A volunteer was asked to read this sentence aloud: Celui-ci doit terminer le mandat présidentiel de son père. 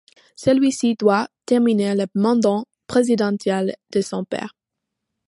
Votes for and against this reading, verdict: 2, 1, accepted